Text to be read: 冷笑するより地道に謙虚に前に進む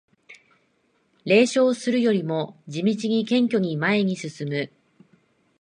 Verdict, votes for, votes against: rejected, 0, 2